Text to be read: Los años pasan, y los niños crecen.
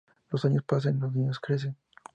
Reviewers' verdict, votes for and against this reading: accepted, 2, 0